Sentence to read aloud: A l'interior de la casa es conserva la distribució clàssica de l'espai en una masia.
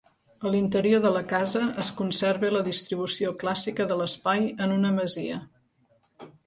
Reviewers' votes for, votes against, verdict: 2, 0, accepted